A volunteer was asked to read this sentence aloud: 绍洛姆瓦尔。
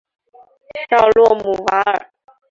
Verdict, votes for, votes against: accepted, 3, 0